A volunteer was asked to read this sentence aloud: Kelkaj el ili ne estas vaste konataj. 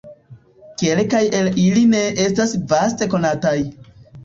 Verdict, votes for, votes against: accepted, 2, 0